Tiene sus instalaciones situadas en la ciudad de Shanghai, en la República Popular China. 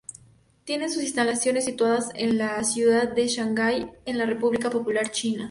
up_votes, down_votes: 2, 0